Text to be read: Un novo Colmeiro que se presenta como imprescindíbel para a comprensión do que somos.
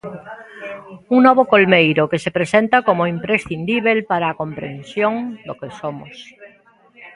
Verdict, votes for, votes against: accepted, 2, 0